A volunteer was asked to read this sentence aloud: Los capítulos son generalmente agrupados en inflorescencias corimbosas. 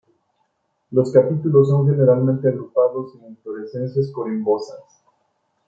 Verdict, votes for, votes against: rejected, 0, 2